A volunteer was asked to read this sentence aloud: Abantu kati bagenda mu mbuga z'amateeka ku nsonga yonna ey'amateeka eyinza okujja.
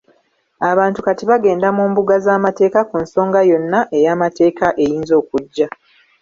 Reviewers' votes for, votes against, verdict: 2, 1, accepted